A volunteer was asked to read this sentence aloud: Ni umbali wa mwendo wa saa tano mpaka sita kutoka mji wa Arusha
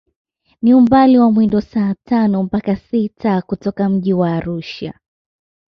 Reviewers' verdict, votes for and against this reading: accepted, 2, 0